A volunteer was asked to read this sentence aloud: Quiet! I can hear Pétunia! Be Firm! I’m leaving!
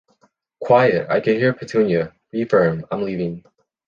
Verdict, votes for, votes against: accepted, 2, 0